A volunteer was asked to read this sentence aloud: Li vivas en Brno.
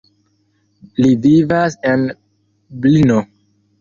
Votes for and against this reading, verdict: 1, 2, rejected